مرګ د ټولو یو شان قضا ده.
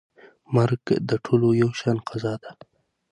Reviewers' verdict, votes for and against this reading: accepted, 6, 0